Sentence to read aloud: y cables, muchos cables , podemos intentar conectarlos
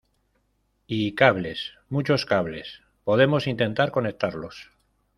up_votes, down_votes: 2, 0